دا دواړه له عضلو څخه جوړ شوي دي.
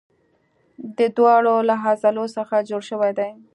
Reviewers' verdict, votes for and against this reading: accepted, 2, 1